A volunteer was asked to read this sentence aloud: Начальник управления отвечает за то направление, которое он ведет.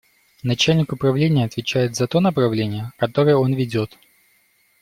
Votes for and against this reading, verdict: 2, 0, accepted